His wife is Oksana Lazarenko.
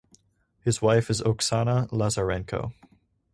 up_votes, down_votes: 4, 0